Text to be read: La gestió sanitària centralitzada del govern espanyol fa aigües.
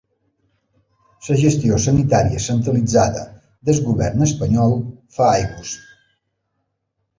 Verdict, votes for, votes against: rejected, 1, 2